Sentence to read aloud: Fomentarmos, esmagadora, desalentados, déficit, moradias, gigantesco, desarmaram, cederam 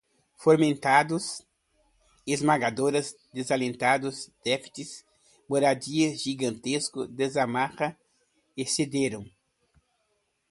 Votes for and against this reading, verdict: 1, 2, rejected